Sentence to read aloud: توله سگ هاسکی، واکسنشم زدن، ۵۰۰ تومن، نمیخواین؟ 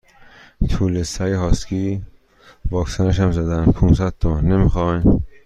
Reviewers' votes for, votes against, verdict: 0, 2, rejected